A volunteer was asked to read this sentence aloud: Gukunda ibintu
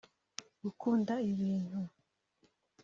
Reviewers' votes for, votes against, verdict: 1, 2, rejected